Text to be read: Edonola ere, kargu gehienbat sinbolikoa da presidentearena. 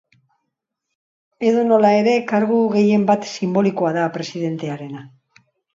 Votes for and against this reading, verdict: 2, 0, accepted